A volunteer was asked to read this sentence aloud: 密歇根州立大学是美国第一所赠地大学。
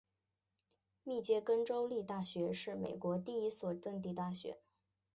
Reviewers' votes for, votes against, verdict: 2, 1, accepted